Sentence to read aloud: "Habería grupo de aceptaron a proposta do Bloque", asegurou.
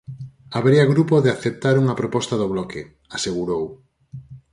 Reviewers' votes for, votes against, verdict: 0, 4, rejected